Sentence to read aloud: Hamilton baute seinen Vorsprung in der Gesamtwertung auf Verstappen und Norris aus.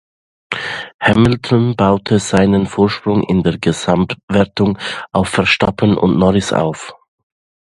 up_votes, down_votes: 2, 1